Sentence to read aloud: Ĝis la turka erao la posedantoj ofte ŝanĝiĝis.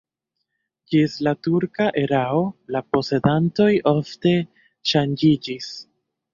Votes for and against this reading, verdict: 0, 2, rejected